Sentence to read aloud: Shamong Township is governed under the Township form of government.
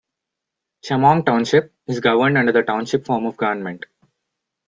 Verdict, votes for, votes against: accepted, 2, 1